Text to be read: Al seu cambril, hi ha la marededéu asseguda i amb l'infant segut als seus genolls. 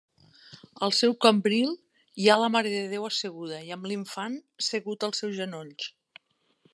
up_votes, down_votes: 2, 0